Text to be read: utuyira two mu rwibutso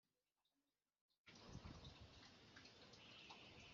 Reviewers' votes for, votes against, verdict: 0, 2, rejected